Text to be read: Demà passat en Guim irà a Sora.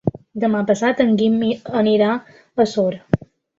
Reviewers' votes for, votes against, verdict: 0, 3, rejected